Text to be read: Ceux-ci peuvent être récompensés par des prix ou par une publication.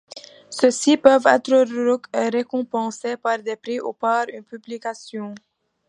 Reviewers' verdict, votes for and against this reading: accepted, 2, 0